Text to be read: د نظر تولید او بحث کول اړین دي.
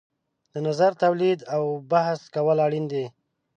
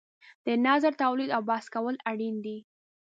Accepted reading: first